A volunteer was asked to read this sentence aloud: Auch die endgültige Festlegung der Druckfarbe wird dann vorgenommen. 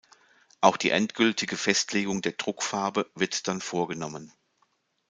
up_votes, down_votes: 2, 0